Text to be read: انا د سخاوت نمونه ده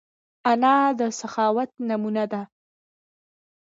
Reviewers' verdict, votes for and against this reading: accepted, 2, 0